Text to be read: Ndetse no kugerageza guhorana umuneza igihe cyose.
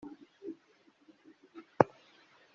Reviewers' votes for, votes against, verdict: 0, 2, rejected